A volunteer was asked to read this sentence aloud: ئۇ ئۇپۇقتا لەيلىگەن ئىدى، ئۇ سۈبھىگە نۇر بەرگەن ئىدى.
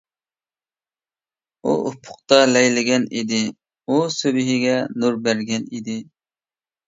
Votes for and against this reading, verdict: 2, 0, accepted